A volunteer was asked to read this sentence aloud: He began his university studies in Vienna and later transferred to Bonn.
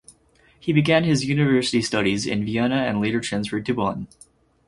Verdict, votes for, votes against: accepted, 4, 0